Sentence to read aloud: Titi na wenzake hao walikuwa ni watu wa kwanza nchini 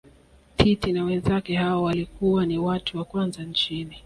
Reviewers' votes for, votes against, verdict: 2, 0, accepted